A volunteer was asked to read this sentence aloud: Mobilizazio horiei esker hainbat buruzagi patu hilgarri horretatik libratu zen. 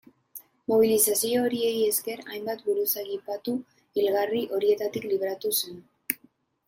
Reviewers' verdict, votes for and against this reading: rejected, 0, 2